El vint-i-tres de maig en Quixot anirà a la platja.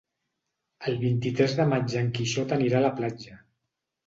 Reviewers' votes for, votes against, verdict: 2, 0, accepted